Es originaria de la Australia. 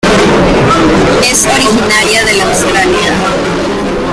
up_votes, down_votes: 0, 2